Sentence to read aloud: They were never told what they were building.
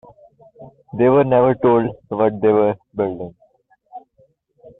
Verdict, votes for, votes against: accepted, 2, 0